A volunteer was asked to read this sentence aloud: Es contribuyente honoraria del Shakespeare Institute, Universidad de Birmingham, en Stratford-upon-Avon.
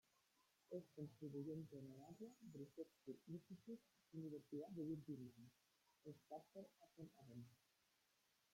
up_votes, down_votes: 0, 2